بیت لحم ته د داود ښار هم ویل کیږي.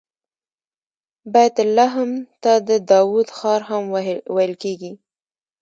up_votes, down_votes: 1, 2